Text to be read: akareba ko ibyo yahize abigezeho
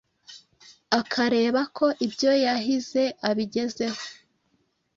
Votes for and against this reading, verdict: 2, 0, accepted